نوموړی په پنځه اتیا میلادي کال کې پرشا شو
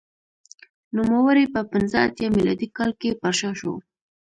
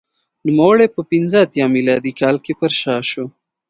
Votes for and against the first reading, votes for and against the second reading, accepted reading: 0, 2, 2, 0, second